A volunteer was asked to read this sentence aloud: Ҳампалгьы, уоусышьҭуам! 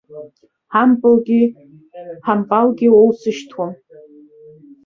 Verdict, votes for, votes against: rejected, 0, 2